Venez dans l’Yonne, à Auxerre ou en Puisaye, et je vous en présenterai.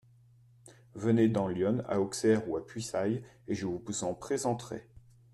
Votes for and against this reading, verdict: 0, 2, rejected